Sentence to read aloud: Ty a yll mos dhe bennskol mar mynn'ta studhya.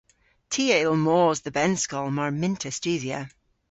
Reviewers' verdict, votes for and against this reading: accepted, 2, 0